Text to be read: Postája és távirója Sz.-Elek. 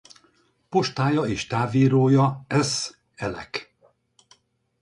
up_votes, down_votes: 2, 2